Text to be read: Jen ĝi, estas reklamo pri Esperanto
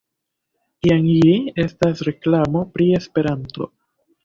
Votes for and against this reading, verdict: 1, 2, rejected